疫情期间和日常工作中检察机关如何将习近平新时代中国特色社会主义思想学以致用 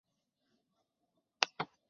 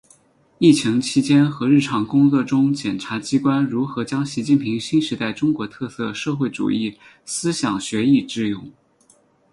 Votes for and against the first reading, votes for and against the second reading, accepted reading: 0, 2, 10, 4, second